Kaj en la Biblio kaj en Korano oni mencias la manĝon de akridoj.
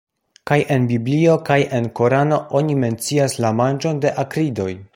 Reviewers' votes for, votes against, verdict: 1, 2, rejected